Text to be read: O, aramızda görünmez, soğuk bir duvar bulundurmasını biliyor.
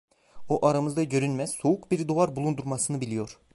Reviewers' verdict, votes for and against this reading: accepted, 2, 0